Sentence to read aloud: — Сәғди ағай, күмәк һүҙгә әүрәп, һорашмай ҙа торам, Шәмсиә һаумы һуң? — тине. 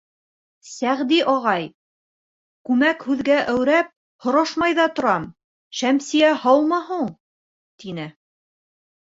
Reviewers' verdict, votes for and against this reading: rejected, 1, 2